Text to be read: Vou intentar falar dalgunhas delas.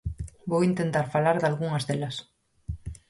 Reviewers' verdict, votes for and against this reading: accepted, 4, 0